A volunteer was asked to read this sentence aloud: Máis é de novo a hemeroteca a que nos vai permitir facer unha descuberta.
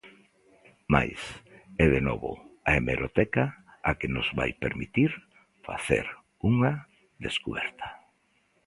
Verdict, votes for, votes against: accepted, 2, 0